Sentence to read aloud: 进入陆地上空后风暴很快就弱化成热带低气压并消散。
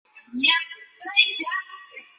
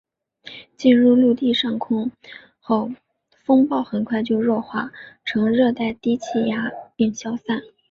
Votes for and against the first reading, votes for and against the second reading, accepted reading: 0, 2, 2, 0, second